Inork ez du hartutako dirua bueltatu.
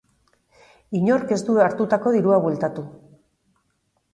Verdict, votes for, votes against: accepted, 3, 0